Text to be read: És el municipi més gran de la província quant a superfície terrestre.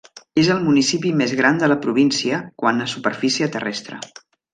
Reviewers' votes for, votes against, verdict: 1, 2, rejected